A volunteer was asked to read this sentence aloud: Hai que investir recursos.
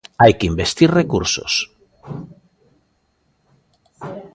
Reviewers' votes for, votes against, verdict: 1, 2, rejected